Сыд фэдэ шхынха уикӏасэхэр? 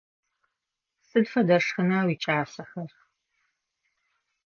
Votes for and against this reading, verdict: 1, 2, rejected